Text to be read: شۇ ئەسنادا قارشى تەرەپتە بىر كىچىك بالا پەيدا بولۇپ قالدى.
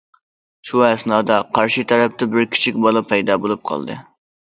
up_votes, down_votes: 2, 0